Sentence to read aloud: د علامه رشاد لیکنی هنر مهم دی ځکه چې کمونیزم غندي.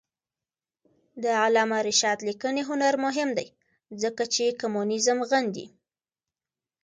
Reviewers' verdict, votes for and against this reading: accepted, 2, 0